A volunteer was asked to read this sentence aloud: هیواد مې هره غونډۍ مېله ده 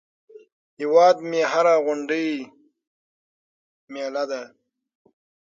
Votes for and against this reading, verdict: 3, 6, rejected